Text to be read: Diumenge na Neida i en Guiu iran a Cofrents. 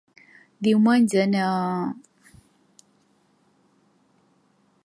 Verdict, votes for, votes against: rejected, 0, 2